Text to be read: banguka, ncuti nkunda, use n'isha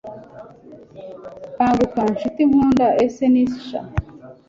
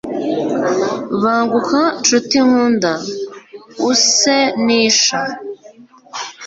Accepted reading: second